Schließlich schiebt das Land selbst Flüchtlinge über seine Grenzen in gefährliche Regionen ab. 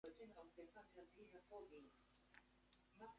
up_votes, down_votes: 0, 2